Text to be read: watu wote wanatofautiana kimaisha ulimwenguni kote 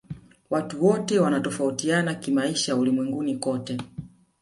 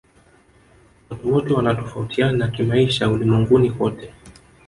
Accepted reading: first